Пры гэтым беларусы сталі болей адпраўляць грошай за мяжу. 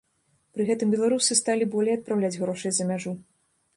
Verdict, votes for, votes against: rejected, 1, 2